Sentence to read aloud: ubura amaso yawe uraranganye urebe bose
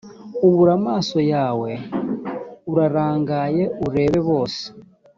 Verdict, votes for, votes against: rejected, 1, 2